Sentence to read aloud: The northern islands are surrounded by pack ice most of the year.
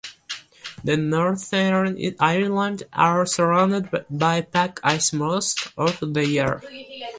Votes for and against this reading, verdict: 1, 2, rejected